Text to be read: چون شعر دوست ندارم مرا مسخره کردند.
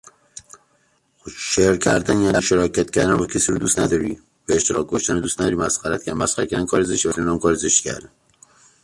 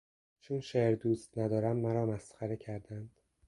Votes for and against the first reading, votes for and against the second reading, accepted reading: 0, 2, 2, 0, second